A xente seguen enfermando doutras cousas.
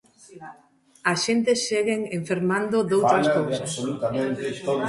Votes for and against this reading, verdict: 0, 2, rejected